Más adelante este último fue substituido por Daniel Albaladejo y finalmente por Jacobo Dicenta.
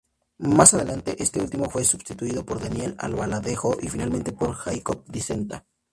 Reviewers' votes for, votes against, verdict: 2, 0, accepted